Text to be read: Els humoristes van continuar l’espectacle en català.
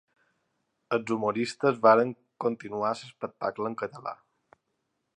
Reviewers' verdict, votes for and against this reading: accepted, 2, 1